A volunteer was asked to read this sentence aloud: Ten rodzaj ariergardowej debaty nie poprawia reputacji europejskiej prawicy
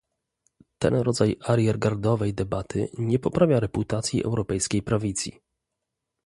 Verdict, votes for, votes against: rejected, 0, 2